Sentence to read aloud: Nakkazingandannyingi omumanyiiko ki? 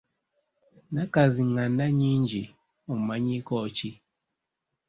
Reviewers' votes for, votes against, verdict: 2, 0, accepted